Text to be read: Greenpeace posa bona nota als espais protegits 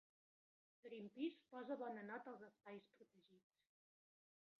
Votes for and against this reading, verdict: 1, 2, rejected